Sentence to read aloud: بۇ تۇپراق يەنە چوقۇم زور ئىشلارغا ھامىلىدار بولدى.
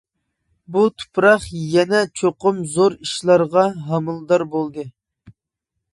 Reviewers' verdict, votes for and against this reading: accepted, 2, 0